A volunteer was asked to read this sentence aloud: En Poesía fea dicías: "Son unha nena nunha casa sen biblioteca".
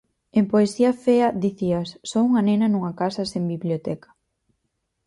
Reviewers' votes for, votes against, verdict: 6, 0, accepted